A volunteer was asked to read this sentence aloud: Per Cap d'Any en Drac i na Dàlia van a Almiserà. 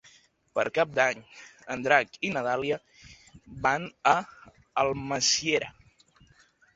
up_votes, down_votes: 1, 2